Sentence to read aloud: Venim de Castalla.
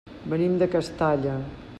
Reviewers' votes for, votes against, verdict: 3, 0, accepted